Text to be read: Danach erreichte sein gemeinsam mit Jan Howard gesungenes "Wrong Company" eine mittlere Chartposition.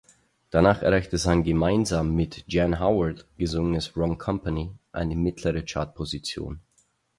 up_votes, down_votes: 4, 0